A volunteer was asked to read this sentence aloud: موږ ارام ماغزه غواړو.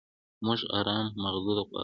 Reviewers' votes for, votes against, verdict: 2, 0, accepted